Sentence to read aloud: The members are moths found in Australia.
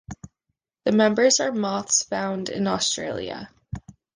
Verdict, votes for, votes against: accepted, 2, 0